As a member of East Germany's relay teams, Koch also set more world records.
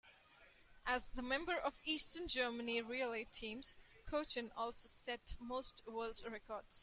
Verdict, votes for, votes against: rejected, 1, 2